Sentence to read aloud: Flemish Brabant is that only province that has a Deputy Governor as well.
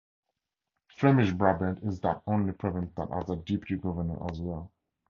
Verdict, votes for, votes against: accepted, 2, 0